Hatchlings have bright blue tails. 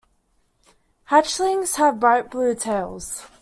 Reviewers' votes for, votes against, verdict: 2, 1, accepted